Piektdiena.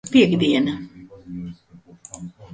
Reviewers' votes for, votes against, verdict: 1, 2, rejected